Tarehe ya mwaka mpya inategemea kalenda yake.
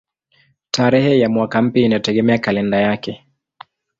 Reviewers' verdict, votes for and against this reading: accepted, 2, 0